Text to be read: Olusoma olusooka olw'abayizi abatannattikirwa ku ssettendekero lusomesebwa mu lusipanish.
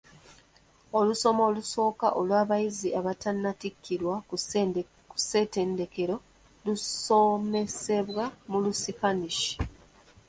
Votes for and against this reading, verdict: 1, 2, rejected